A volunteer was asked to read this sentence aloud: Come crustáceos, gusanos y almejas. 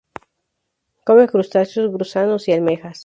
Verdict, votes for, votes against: rejected, 2, 4